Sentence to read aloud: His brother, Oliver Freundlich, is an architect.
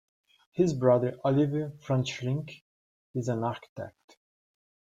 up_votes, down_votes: 2, 1